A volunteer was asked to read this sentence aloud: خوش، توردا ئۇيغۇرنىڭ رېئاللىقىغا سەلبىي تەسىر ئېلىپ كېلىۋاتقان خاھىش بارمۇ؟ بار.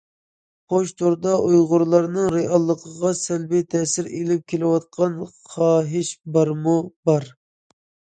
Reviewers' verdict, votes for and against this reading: rejected, 1, 2